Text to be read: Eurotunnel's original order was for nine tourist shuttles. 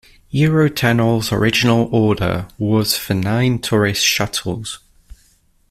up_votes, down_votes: 2, 0